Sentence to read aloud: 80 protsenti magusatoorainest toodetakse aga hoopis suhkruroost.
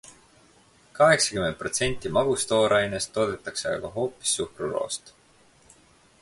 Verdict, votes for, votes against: rejected, 0, 2